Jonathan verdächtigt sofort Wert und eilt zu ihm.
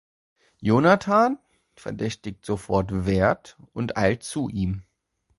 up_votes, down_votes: 2, 0